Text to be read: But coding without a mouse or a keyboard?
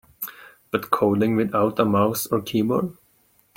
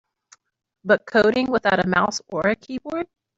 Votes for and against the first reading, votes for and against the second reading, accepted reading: 2, 1, 0, 2, first